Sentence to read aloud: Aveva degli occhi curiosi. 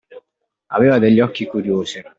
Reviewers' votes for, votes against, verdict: 2, 0, accepted